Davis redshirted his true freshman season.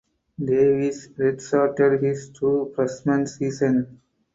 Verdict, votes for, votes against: accepted, 4, 2